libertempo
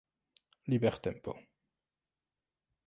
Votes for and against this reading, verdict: 2, 1, accepted